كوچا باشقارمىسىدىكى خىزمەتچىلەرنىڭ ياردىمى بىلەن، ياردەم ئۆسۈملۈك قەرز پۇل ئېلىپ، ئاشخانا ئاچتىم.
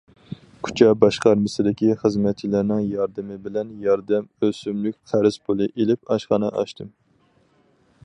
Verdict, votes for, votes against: rejected, 2, 4